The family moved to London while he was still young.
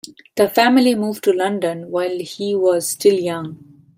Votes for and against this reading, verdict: 2, 0, accepted